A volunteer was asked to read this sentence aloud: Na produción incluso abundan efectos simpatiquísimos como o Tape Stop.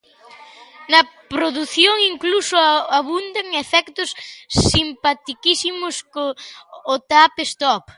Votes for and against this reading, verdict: 0, 2, rejected